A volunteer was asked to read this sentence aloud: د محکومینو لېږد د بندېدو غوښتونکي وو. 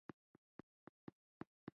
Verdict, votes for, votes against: rejected, 0, 2